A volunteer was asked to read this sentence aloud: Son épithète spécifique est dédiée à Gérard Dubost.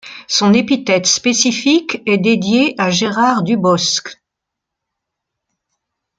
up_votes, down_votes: 1, 2